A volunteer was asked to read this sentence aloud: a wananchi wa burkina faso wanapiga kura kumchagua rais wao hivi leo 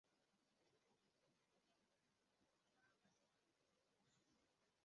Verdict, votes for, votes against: rejected, 0, 2